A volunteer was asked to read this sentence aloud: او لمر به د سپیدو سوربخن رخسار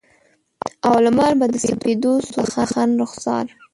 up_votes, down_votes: 2, 3